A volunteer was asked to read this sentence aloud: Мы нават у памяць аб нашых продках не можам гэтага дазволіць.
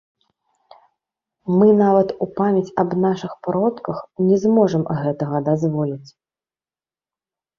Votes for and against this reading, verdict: 1, 2, rejected